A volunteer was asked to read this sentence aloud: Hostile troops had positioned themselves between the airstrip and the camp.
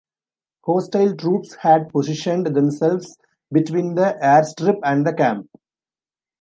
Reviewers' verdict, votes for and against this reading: accepted, 2, 0